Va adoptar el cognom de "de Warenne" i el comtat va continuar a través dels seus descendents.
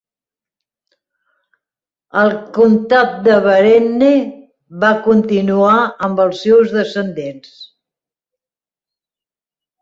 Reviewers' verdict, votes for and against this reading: rejected, 0, 2